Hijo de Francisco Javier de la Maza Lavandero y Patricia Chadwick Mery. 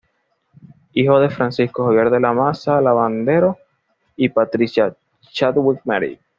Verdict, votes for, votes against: accepted, 2, 0